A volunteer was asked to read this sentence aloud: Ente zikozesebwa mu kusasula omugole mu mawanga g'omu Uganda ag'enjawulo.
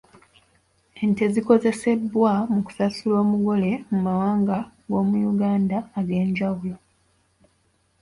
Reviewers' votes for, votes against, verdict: 0, 2, rejected